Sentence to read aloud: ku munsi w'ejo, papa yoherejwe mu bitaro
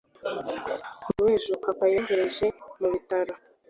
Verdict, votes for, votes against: rejected, 1, 2